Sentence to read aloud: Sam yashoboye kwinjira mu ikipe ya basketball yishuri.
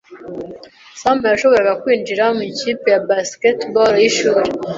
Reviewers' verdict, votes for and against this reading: rejected, 1, 2